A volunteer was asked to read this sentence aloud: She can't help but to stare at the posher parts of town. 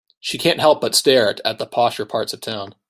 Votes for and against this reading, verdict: 0, 2, rejected